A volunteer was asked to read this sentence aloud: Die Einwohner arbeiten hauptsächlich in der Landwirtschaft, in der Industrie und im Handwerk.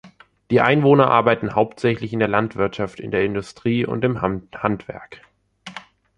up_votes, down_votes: 0, 2